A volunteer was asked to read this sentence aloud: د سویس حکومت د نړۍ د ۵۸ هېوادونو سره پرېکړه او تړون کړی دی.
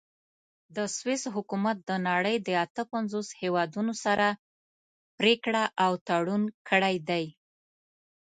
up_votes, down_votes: 0, 2